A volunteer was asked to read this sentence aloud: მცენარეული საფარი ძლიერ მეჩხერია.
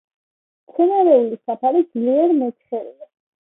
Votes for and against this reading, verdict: 3, 1, accepted